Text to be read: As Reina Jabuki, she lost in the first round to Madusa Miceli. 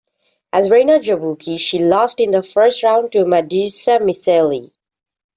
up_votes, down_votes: 2, 0